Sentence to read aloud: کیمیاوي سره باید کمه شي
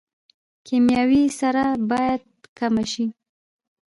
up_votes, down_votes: 0, 2